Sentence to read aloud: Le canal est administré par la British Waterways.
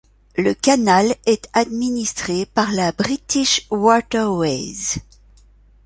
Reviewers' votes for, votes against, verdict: 2, 0, accepted